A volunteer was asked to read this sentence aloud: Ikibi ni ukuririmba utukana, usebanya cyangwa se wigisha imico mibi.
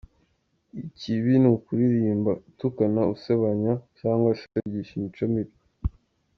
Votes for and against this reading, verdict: 2, 0, accepted